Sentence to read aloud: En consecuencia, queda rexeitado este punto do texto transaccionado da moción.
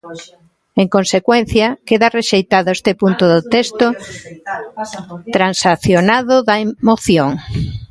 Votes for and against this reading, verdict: 0, 2, rejected